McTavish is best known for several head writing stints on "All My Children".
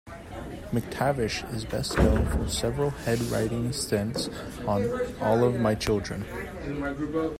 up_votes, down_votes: 1, 2